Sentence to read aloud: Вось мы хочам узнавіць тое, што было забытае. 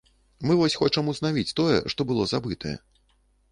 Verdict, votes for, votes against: rejected, 0, 2